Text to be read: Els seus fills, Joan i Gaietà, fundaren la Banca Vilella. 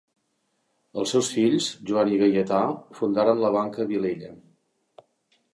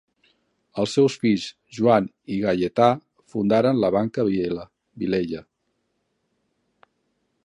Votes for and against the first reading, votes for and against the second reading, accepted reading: 2, 0, 0, 2, first